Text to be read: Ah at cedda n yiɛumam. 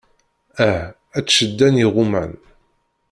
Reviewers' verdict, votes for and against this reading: rejected, 0, 2